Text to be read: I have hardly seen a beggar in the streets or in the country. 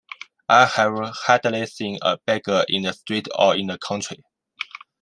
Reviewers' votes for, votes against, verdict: 2, 1, accepted